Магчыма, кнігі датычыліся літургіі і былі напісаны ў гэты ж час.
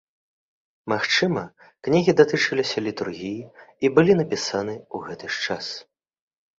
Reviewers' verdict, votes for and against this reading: accepted, 2, 0